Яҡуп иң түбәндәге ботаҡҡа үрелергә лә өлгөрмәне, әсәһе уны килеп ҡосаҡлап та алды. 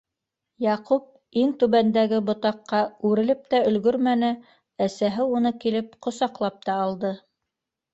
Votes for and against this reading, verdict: 0, 3, rejected